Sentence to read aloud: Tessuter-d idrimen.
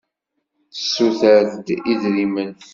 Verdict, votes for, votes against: accepted, 2, 0